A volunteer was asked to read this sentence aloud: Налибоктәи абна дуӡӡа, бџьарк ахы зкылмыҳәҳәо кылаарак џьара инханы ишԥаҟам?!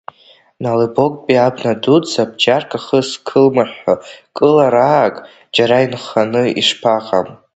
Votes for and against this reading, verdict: 2, 0, accepted